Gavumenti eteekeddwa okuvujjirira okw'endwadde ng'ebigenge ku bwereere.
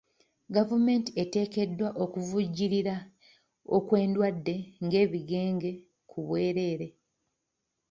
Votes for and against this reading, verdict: 2, 0, accepted